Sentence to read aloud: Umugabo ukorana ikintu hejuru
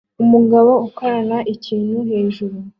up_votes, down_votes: 2, 0